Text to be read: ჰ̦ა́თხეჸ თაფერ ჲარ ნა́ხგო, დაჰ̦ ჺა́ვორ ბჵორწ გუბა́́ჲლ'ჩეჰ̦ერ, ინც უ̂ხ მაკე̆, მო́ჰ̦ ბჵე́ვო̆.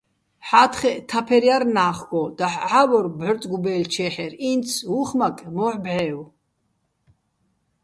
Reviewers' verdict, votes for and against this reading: accepted, 2, 0